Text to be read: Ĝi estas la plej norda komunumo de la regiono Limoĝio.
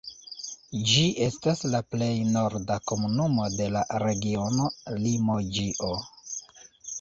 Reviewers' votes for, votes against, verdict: 1, 2, rejected